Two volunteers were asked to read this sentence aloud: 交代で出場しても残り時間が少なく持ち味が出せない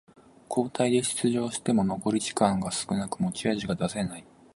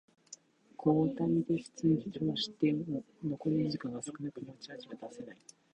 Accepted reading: first